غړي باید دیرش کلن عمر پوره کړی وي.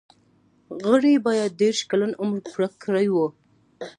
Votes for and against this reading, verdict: 2, 0, accepted